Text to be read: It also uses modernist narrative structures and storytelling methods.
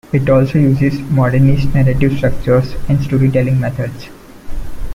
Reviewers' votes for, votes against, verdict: 2, 0, accepted